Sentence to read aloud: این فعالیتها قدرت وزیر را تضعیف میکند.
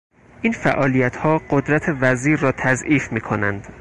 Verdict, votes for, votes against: rejected, 0, 4